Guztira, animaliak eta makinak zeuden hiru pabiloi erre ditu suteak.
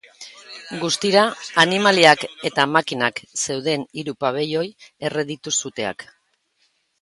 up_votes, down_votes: 2, 0